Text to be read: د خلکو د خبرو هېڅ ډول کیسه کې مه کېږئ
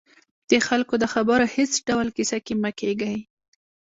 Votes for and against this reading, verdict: 2, 0, accepted